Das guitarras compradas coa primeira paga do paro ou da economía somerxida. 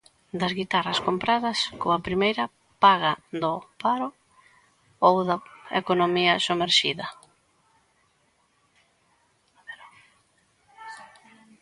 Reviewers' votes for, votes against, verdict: 1, 2, rejected